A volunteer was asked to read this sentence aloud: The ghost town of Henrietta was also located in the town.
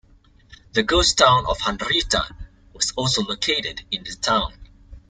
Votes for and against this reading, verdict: 2, 1, accepted